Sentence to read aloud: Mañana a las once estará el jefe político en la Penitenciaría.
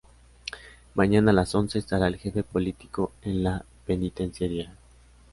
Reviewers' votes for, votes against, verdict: 2, 0, accepted